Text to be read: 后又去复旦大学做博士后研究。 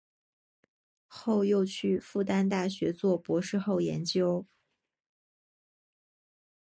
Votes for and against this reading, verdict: 1, 2, rejected